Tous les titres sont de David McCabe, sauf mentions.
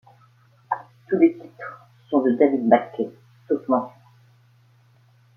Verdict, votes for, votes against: rejected, 1, 2